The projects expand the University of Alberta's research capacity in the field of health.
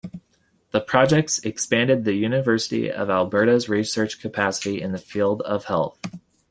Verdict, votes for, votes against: rejected, 1, 2